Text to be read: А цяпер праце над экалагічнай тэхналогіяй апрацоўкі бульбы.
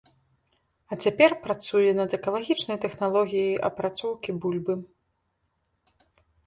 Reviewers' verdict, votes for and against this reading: rejected, 0, 2